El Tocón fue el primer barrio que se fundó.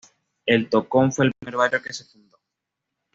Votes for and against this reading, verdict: 1, 2, rejected